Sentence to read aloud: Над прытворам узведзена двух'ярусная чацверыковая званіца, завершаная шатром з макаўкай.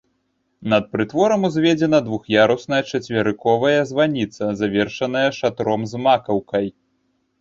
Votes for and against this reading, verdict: 2, 0, accepted